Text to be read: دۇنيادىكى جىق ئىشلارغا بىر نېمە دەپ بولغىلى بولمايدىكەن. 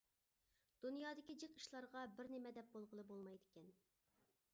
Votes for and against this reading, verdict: 2, 0, accepted